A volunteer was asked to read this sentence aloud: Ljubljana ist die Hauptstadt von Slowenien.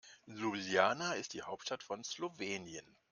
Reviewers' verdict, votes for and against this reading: rejected, 0, 2